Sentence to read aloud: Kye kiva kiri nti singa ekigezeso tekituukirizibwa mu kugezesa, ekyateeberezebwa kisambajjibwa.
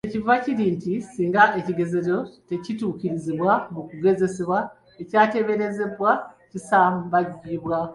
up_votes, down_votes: 2, 1